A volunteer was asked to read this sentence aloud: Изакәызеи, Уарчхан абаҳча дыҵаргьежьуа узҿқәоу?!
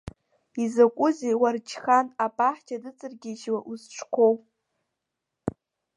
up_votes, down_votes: 0, 2